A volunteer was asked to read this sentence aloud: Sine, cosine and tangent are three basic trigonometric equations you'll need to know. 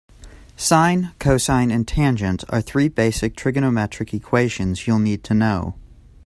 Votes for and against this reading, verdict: 2, 0, accepted